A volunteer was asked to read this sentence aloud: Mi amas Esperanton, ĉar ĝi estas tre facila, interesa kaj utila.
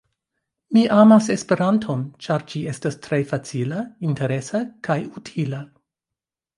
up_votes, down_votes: 2, 0